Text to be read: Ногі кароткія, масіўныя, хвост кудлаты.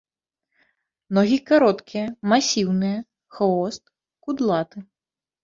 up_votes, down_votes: 2, 0